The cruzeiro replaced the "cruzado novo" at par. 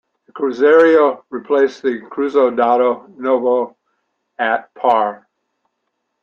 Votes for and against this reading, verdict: 0, 2, rejected